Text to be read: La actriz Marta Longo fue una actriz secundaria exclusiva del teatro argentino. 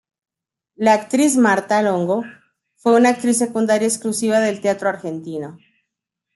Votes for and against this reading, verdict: 2, 0, accepted